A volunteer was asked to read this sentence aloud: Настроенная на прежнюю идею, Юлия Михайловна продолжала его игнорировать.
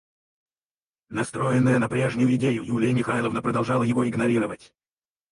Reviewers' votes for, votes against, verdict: 2, 4, rejected